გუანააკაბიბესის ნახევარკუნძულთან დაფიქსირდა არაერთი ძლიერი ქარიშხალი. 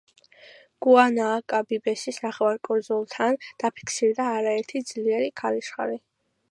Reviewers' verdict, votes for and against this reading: accepted, 2, 0